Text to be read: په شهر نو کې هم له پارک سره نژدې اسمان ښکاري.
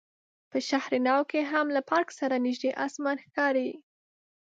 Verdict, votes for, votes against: accepted, 2, 0